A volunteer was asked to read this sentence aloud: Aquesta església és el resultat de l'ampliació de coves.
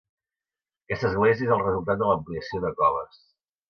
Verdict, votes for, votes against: accepted, 2, 0